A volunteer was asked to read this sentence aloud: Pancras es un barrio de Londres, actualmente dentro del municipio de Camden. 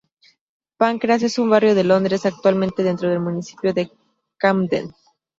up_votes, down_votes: 0, 2